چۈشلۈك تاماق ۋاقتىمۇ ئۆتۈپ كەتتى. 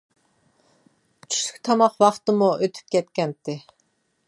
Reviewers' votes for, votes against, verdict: 1, 2, rejected